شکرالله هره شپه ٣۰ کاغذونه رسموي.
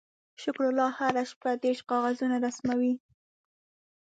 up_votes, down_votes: 0, 2